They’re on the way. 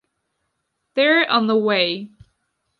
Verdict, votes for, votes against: accepted, 2, 0